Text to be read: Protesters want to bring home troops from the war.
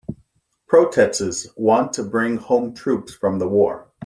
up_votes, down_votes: 1, 2